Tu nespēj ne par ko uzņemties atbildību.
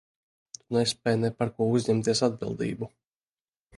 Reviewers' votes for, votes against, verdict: 1, 2, rejected